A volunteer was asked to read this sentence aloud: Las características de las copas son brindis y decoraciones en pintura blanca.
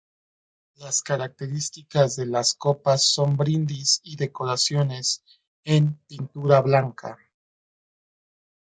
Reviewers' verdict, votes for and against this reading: rejected, 0, 2